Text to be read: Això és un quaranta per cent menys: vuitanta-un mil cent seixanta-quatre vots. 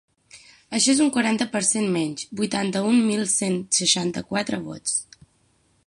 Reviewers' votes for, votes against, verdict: 9, 0, accepted